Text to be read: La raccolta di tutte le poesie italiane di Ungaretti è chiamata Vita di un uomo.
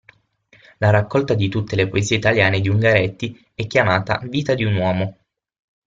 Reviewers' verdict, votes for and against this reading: accepted, 6, 0